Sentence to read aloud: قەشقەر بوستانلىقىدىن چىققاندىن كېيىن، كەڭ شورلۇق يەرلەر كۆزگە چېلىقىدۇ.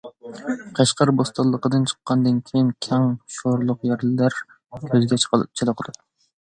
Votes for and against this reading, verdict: 0, 2, rejected